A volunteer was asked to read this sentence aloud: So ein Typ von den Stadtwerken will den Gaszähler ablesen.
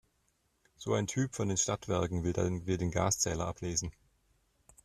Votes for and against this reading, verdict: 0, 2, rejected